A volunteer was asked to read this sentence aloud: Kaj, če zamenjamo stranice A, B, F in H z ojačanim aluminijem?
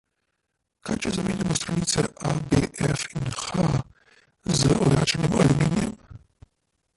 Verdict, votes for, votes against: rejected, 1, 2